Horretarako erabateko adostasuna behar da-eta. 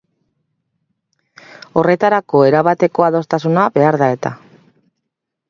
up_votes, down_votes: 3, 0